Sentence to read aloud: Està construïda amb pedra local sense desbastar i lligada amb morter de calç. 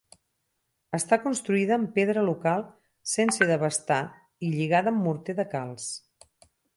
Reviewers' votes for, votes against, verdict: 0, 4, rejected